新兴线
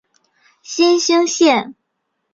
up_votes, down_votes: 4, 0